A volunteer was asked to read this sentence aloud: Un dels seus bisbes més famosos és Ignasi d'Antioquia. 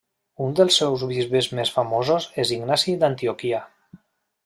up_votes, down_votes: 1, 2